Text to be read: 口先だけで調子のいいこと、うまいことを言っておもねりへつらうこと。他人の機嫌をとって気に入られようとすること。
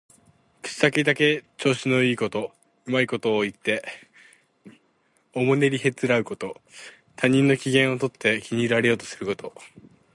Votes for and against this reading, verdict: 4, 0, accepted